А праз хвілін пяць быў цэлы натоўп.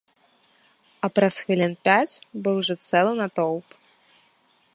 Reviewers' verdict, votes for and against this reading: rejected, 0, 2